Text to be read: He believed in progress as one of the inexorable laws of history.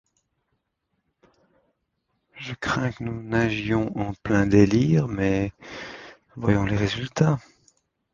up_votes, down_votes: 0, 2